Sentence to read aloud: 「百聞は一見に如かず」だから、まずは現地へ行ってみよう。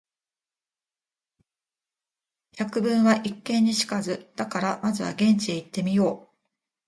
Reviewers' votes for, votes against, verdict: 2, 0, accepted